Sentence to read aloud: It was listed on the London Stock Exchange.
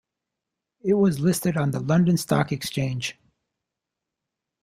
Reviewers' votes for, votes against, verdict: 2, 0, accepted